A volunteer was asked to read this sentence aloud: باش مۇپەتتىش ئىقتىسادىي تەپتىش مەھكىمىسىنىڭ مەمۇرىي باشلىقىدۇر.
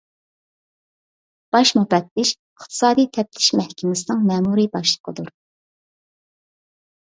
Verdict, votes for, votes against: rejected, 1, 2